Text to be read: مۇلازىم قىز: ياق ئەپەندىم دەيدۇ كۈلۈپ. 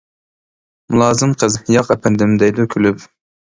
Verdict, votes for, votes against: accepted, 2, 0